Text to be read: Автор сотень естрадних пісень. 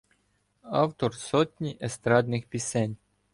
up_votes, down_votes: 0, 2